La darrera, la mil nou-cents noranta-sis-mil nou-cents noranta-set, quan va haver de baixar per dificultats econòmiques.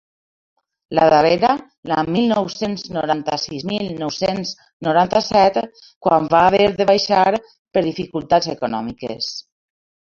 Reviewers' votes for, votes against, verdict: 1, 2, rejected